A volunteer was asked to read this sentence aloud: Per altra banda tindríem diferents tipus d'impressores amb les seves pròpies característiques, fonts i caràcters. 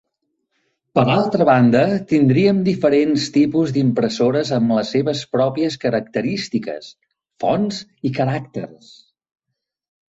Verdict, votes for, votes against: accepted, 2, 0